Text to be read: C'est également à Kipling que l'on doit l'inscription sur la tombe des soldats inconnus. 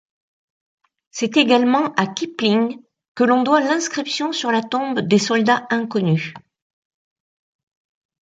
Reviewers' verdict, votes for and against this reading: accepted, 2, 0